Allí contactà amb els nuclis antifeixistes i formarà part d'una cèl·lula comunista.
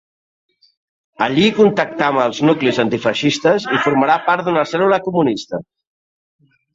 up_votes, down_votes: 3, 0